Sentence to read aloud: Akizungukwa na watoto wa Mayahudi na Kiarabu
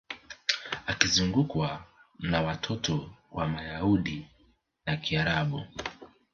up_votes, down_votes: 2, 1